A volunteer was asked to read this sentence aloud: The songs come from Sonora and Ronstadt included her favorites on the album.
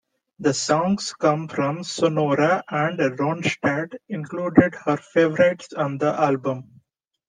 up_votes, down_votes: 2, 0